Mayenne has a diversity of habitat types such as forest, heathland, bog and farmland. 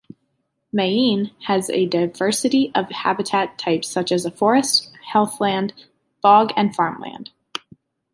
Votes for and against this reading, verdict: 3, 2, accepted